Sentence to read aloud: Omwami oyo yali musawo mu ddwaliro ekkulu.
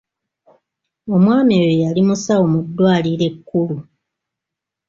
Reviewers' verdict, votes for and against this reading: accepted, 2, 1